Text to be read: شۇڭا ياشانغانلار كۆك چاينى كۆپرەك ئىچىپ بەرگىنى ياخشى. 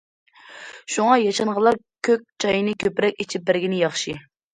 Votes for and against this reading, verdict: 2, 0, accepted